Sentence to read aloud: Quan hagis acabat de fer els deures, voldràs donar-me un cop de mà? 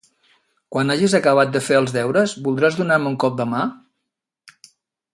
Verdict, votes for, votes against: accepted, 2, 0